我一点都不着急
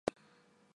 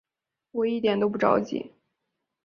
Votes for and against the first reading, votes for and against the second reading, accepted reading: 1, 2, 2, 0, second